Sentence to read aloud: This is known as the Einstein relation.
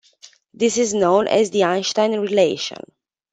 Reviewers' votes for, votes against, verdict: 2, 1, accepted